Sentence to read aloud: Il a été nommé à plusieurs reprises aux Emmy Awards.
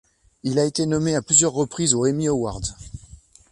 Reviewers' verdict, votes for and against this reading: accepted, 2, 0